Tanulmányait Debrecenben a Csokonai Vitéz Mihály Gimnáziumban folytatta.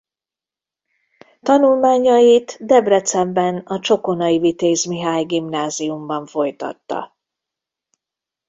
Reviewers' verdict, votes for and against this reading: rejected, 0, 2